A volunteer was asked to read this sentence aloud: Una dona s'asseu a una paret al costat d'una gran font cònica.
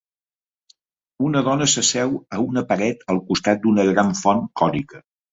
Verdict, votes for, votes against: accepted, 4, 0